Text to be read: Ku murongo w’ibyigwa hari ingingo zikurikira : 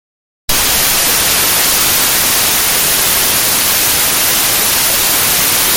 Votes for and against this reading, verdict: 0, 2, rejected